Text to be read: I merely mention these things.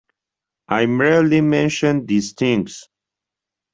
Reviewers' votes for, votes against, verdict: 2, 1, accepted